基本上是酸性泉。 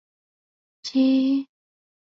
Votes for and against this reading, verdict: 0, 3, rejected